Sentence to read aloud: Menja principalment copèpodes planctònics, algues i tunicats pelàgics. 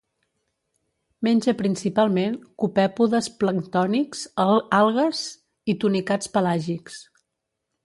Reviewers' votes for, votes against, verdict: 1, 2, rejected